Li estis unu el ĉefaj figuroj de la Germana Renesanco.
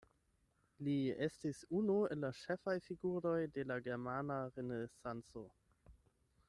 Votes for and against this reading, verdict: 4, 8, rejected